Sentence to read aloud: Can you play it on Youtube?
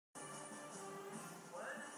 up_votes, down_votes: 1, 2